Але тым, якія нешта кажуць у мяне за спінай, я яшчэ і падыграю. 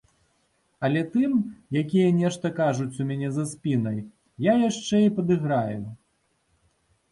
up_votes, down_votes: 2, 0